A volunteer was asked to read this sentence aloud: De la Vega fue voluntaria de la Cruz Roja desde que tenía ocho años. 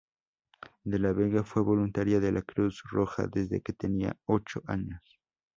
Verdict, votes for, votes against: accepted, 2, 0